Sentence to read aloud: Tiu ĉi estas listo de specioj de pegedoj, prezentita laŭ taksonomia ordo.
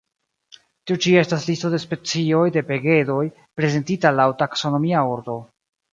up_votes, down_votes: 3, 1